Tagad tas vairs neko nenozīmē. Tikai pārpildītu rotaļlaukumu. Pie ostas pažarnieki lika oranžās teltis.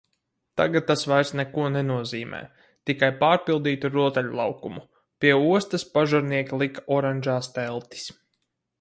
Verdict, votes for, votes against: accepted, 4, 0